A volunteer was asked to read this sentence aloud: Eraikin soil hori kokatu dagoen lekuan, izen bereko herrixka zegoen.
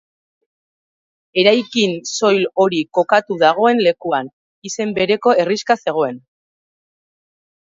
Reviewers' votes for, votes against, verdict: 4, 1, accepted